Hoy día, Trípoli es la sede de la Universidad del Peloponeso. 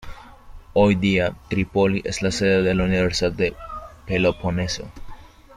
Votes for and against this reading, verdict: 1, 2, rejected